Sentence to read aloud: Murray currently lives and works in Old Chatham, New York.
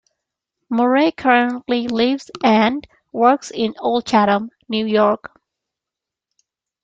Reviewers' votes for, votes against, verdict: 2, 1, accepted